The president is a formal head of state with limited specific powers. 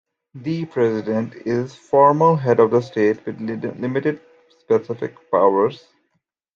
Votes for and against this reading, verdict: 0, 2, rejected